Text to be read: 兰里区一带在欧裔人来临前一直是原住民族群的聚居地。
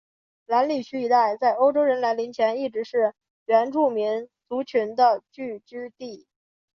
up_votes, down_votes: 3, 0